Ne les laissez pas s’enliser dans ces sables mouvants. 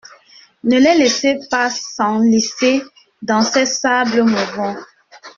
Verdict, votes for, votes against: rejected, 1, 2